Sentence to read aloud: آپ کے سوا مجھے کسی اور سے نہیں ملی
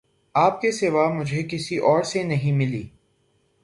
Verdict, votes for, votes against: accepted, 3, 0